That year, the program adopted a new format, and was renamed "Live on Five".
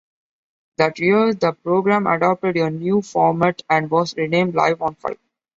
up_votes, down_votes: 2, 0